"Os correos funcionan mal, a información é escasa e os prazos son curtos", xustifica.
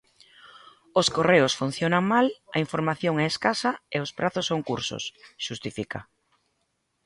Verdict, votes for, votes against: rejected, 0, 2